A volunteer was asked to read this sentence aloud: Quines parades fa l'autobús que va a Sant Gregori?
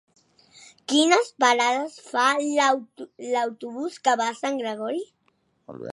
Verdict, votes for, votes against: rejected, 1, 2